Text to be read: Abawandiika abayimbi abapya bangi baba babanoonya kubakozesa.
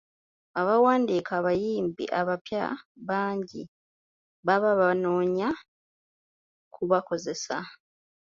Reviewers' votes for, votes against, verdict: 2, 0, accepted